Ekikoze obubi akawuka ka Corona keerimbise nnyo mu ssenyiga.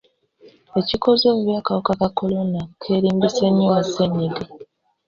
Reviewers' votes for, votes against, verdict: 2, 1, accepted